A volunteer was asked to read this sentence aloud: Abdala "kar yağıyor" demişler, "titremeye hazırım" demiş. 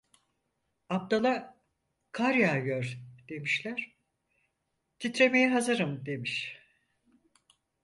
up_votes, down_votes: 4, 0